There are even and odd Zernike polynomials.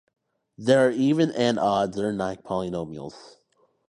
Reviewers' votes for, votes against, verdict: 2, 0, accepted